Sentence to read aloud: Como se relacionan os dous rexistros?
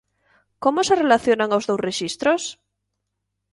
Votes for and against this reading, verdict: 2, 0, accepted